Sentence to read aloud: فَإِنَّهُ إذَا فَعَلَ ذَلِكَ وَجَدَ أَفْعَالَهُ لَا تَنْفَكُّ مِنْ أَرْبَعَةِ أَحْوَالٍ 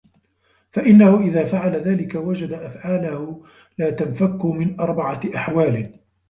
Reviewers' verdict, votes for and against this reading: rejected, 1, 2